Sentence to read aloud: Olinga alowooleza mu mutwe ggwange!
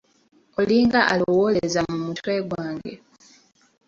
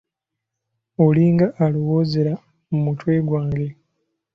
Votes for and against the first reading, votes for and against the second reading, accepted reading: 2, 0, 0, 2, first